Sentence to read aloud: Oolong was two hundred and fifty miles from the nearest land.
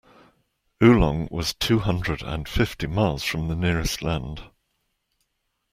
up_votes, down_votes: 3, 1